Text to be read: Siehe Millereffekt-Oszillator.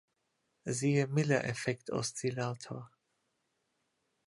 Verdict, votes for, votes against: accepted, 2, 0